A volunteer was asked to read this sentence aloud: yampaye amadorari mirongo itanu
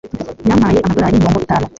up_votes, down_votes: 1, 2